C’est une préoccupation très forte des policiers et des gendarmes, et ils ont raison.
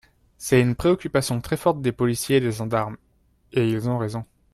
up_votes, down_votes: 1, 3